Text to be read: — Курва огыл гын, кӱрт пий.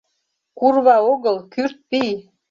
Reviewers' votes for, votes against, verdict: 1, 2, rejected